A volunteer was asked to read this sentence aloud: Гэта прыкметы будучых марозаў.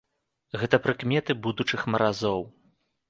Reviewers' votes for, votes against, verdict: 1, 2, rejected